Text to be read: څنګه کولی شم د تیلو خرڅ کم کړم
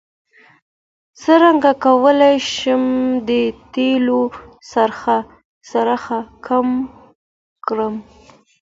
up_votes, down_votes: 2, 1